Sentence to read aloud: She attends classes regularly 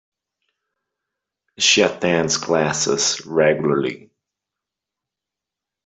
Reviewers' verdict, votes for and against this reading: accepted, 2, 0